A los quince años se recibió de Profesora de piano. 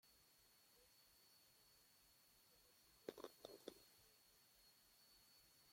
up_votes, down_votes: 0, 2